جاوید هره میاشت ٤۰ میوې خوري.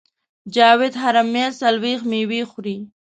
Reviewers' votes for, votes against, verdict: 0, 2, rejected